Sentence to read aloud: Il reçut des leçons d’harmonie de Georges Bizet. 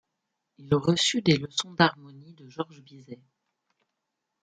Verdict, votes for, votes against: rejected, 0, 2